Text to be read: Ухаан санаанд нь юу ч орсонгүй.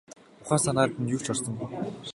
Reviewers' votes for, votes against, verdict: 2, 0, accepted